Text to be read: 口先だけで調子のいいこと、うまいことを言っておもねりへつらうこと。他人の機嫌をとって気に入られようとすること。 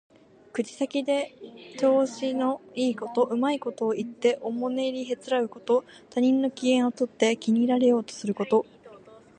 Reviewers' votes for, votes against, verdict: 1, 2, rejected